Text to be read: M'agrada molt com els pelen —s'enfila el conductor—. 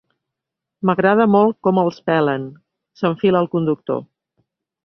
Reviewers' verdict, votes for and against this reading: accepted, 2, 0